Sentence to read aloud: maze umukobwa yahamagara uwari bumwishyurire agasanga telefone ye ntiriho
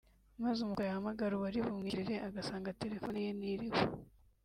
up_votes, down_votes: 1, 2